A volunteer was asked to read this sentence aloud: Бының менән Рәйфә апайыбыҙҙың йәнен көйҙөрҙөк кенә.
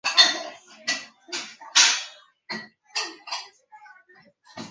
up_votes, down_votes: 0, 2